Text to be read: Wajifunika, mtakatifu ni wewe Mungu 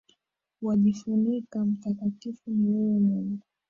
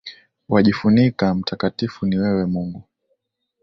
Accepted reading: second